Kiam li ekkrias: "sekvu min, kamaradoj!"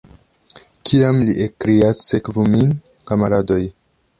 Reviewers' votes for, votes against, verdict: 0, 2, rejected